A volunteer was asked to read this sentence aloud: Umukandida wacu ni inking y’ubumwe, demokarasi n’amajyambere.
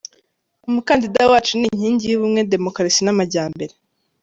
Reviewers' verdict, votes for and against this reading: accepted, 2, 0